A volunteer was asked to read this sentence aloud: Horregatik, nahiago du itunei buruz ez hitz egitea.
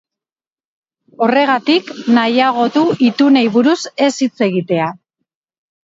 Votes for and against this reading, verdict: 3, 2, accepted